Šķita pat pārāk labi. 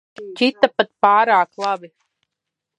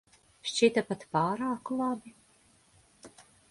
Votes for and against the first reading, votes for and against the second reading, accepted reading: 1, 2, 2, 0, second